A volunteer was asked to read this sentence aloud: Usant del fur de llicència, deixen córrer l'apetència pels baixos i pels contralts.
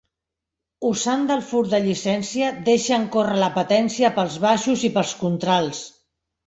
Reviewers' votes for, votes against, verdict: 1, 3, rejected